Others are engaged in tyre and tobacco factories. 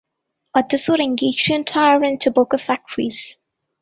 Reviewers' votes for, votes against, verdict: 1, 2, rejected